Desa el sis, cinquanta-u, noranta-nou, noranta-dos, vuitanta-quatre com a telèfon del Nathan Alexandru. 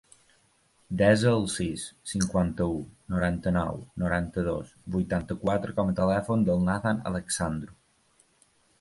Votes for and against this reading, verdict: 1, 2, rejected